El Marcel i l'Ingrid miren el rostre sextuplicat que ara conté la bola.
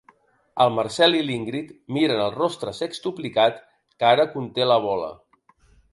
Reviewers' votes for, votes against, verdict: 2, 0, accepted